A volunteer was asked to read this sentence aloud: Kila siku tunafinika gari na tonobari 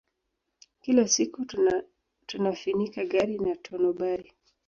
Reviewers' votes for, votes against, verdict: 3, 0, accepted